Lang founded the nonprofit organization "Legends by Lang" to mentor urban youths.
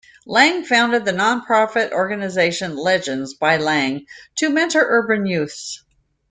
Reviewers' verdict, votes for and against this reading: accepted, 2, 0